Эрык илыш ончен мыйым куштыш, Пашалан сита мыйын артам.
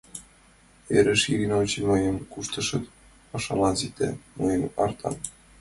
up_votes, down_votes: 0, 2